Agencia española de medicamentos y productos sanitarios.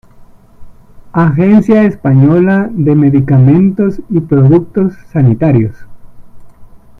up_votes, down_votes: 2, 1